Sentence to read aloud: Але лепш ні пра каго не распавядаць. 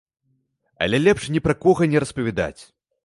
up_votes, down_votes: 0, 2